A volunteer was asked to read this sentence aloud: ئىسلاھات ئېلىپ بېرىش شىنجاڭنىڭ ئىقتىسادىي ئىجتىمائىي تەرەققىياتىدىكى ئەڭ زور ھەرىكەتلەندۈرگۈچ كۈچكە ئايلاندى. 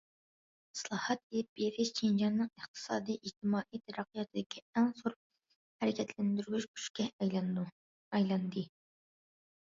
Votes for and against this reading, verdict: 0, 2, rejected